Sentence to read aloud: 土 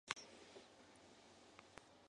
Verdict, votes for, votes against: rejected, 0, 2